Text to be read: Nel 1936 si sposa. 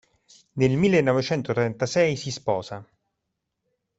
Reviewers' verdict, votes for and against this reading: rejected, 0, 2